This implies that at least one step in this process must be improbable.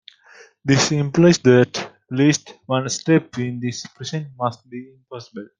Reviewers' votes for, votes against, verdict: 0, 2, rejected